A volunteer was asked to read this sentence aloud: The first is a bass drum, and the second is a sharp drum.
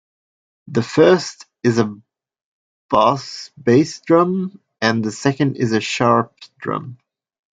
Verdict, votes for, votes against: rejected, 0, 2